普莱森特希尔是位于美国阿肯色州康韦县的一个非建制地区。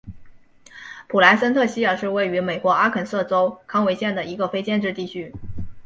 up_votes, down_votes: 3, 0